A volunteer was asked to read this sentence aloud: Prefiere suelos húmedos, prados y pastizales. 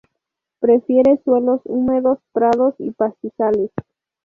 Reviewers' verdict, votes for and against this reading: accepted, 4, 0